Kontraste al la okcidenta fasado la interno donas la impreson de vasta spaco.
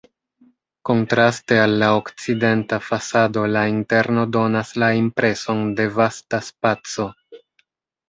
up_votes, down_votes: 1, 2